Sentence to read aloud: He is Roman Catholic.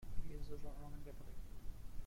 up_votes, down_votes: 0, 2